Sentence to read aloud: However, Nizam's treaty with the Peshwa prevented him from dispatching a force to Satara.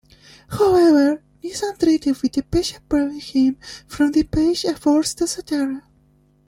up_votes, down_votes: 0, 2